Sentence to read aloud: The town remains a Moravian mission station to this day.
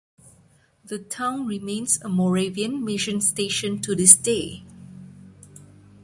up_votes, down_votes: 2, 1